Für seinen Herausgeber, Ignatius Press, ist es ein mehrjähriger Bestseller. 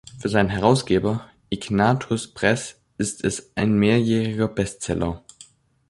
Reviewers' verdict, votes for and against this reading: rejected, 0, 2